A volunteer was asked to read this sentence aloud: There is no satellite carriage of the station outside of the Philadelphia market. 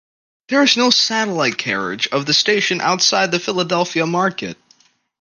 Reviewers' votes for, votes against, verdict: 2, 0, accepted